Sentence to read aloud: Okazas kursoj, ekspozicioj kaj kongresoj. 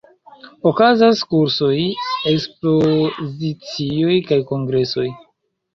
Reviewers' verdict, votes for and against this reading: accepted, 2, 1